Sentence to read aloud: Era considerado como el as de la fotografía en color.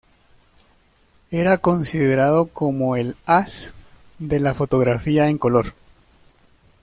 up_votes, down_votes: 2, 0